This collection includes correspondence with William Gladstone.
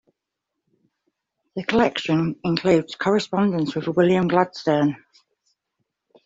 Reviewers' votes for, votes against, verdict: 0, 2, rejected